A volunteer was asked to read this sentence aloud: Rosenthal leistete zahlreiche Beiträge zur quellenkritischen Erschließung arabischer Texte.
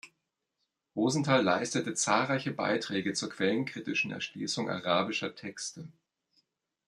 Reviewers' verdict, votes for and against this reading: accepted, 2, 1